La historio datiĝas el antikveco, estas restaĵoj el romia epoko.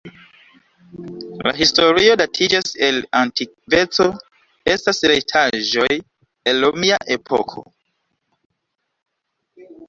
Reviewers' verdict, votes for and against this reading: rejected, 0, 2